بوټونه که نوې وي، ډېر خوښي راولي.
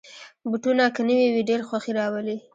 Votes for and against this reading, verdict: 2, 0, accepted